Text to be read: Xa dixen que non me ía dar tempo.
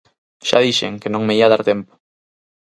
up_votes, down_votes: 6, 0